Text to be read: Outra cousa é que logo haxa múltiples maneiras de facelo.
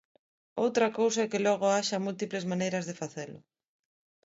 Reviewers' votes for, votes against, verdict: 2, 0, accepted